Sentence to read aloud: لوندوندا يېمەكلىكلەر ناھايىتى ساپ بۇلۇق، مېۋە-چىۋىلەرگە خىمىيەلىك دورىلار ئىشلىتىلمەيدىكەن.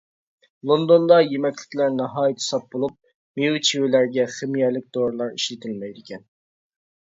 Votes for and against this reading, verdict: 0, 2, rejected